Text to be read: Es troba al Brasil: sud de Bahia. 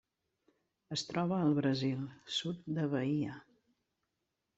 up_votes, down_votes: 0, 2